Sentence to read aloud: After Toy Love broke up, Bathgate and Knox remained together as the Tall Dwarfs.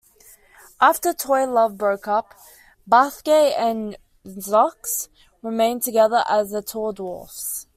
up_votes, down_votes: 1, 2